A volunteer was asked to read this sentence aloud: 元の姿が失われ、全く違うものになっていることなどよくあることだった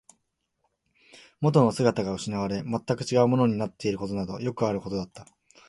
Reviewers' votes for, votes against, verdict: 2, 0, accepted